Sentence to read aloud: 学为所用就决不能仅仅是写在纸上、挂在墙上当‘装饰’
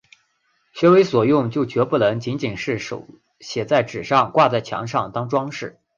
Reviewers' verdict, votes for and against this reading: rejected, 0, 2